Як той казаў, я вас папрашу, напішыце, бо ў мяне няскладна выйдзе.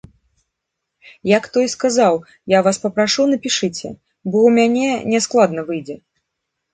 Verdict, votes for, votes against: accepted, 2, 1